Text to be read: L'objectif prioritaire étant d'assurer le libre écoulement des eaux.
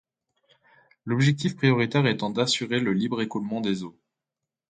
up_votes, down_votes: 2, 0